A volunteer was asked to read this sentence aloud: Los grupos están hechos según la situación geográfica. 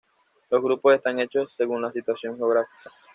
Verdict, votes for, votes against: accepted, 2, 0